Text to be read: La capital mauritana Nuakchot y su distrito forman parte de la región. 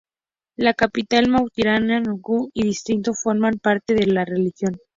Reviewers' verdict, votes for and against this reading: rejected, 0, 2